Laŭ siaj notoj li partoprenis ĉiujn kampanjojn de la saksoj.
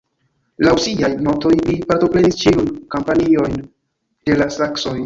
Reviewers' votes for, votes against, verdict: 1, 2, rejected